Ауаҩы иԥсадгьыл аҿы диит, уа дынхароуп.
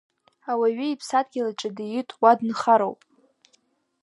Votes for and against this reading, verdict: 2, 0, accepted